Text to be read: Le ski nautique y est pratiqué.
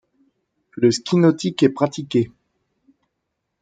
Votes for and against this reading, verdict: 1, 2, rejected